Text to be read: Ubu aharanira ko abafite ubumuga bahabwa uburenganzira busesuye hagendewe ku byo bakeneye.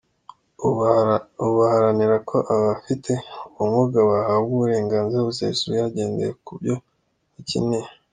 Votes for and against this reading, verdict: 1, 2, rejected